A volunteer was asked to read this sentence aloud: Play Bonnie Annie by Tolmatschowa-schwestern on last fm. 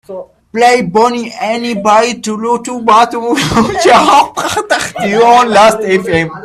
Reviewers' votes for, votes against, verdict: 0, 3, rejected